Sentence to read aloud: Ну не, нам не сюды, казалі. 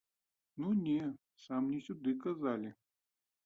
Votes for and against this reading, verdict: 0, 2, rejected